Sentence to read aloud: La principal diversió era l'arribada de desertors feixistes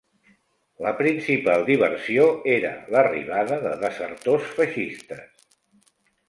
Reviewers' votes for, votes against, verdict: 2, 0, accepted